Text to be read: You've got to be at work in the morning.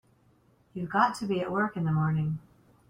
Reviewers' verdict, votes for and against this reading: accepted, 2, 0